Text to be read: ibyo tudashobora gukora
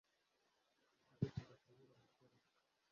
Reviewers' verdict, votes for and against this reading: rejected, 0, 2